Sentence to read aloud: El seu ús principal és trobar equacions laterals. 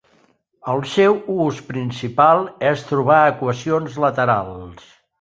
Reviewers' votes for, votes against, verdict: 5, 0, accepted